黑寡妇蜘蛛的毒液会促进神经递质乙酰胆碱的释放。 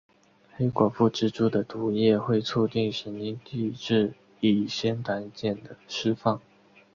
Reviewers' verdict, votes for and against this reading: accepted, 3, 0